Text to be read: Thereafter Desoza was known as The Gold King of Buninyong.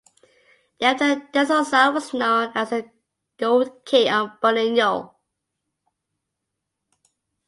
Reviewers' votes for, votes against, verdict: 0, 2, rejected